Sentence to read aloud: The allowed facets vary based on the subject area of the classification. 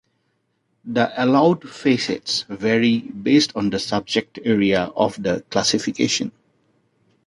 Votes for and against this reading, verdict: 2, 0, accepted